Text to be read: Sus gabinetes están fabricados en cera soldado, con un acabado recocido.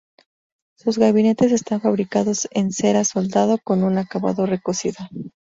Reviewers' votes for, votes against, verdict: 2, 0, accepted